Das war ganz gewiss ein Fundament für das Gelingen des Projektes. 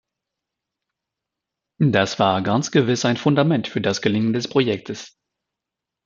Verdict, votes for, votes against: accepted, 2, 0